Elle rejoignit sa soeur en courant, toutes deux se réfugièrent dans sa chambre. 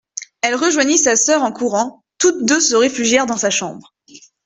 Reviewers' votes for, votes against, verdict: 2, 0, accepted